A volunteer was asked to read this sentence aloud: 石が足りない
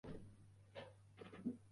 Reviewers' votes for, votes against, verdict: 0, 2, rejected